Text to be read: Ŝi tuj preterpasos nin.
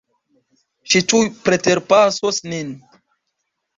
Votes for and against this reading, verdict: 1, 2, rejected